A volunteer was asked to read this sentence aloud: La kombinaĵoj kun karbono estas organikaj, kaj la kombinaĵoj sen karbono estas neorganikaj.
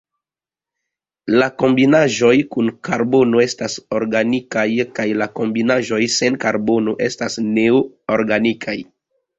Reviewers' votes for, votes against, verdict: 0, 2, rejected